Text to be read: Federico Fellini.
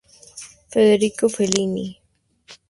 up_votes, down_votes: 2, 0